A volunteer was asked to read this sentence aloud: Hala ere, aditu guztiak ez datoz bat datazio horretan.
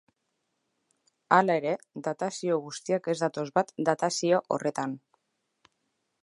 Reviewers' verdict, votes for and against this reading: rejected, 1, 3